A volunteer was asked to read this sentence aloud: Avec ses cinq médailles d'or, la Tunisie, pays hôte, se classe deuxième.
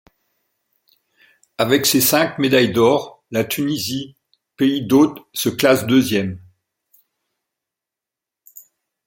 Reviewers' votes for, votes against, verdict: 1, 2, rejected